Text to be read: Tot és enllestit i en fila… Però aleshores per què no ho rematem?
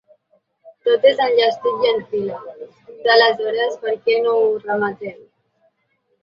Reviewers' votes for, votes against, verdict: 2, 1, accepted